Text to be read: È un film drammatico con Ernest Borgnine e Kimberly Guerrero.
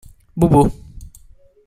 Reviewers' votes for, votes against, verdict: 0, 2, rejected